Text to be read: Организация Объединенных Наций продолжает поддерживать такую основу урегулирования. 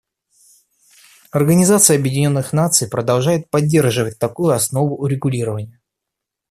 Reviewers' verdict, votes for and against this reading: accepted, 2, 0